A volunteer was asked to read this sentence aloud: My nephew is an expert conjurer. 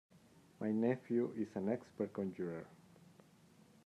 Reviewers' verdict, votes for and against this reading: accepted, 2, 0